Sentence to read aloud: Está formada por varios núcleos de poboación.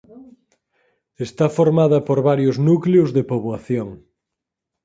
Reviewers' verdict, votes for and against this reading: accepted, 4, 0